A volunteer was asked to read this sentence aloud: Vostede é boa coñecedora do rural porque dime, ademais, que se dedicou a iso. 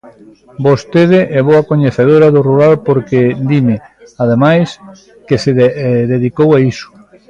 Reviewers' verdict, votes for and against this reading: rejected, 0, 2